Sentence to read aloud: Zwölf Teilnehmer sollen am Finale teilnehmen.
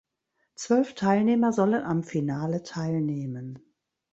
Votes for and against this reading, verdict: 0, 2, rejected